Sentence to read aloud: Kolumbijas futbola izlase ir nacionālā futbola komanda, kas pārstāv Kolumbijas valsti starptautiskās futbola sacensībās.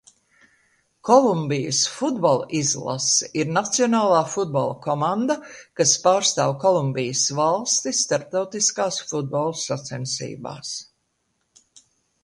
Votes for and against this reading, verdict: 2, 0, accepted